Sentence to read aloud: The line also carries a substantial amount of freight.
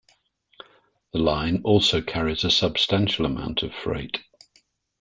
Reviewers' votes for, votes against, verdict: 2, 0, accepted